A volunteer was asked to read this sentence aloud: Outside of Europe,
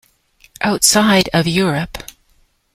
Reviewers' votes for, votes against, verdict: 2, 1, accepted